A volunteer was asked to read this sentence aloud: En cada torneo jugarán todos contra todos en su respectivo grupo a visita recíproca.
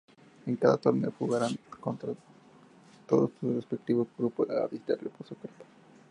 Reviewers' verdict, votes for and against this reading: rejected, 0, 2